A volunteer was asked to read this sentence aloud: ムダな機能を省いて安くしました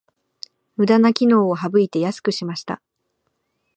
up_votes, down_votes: 2, 0